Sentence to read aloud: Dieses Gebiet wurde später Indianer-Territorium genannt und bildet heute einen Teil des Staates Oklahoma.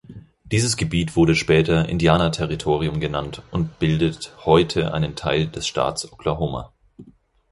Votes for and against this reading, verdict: 2, 4, rejected